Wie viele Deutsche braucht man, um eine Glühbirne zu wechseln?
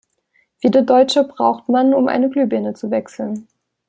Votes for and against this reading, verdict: 1, 2, rejected